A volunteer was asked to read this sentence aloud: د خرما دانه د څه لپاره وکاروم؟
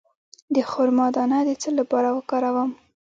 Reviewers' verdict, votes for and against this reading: rejected, 1, 2